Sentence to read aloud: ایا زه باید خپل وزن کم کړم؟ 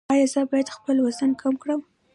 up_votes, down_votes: 2, 0